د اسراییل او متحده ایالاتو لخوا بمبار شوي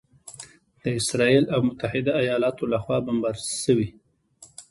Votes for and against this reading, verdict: 2, 1, accepted